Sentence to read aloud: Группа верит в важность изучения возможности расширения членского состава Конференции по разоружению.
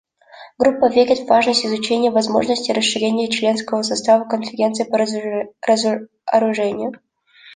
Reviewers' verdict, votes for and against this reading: rejected, 0, 2